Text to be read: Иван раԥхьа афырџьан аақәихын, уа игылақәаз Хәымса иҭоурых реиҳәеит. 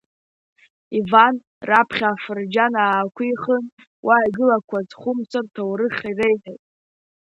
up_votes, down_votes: 2, 0